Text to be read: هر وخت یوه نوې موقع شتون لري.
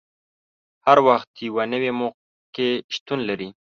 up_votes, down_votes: 2, 0